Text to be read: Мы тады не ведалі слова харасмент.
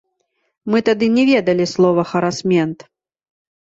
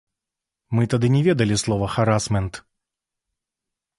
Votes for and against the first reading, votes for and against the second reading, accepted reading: 0, 2, 2, 0, second